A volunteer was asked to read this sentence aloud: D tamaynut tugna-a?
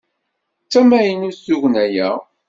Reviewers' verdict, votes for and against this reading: accepted, 2, 0